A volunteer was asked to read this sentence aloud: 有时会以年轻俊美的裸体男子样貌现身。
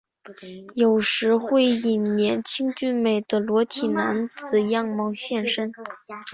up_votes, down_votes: 8, 0